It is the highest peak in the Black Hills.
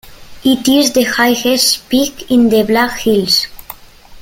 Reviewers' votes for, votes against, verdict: 1, 2, rejected